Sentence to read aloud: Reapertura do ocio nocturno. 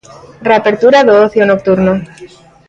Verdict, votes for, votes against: accepted, 2, 0